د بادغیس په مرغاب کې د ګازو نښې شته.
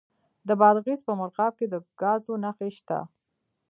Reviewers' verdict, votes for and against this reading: accepted, 2, 0